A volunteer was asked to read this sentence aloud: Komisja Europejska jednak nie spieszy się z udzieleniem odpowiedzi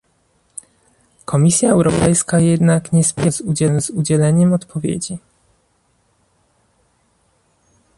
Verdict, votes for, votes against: rejected, 0, 2